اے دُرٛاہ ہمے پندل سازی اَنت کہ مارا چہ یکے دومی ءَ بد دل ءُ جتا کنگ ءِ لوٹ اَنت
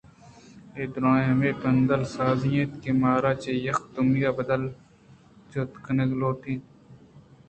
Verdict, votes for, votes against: accepted, 2, 1